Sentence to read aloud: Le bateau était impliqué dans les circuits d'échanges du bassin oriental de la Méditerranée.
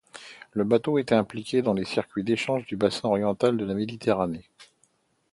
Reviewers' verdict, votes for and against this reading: accepted, 2, 0